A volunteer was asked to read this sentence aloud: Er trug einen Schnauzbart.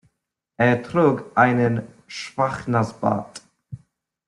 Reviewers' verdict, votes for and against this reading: rejected, 0, 2